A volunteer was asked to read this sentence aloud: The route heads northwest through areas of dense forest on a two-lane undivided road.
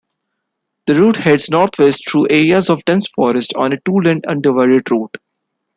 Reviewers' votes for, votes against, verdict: 2, 0, accepted